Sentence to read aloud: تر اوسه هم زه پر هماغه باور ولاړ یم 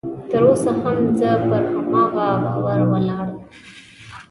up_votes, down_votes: 1, 2